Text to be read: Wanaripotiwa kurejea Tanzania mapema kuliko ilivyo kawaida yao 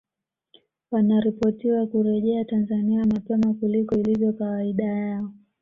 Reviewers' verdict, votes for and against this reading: accepted, 2, 1